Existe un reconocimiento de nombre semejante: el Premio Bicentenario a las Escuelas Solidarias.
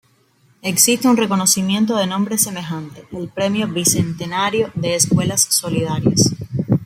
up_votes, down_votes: 0, 2